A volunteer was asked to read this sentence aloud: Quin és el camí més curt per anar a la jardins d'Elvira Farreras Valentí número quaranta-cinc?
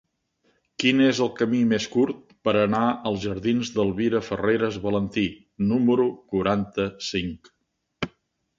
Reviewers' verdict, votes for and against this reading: accepted, 2, 0